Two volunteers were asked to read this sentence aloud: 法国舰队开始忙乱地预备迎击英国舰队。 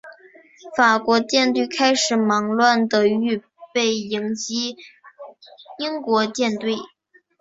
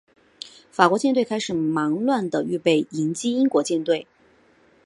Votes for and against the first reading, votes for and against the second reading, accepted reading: 4, 1, 1, 2, first